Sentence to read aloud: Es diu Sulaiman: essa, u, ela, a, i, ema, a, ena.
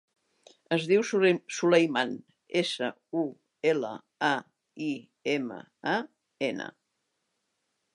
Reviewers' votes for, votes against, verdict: 0, 2, rejected